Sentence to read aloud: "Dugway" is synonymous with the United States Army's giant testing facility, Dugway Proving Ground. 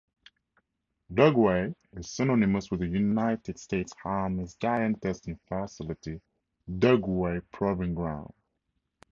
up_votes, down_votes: 0, 2